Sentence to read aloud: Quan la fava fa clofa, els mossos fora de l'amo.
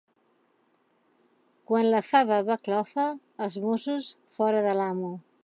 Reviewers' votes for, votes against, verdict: 3, 1, accepted